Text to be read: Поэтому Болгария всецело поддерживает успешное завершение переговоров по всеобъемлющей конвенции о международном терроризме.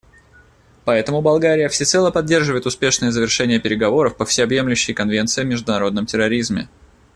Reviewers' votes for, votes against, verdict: 2, 0, accepted